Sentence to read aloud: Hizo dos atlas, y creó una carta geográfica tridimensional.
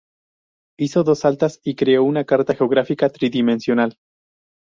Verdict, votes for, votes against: rejected, 0, 2